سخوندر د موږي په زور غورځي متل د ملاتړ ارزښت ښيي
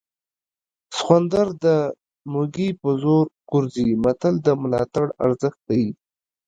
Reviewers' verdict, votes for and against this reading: rejected, 1, 2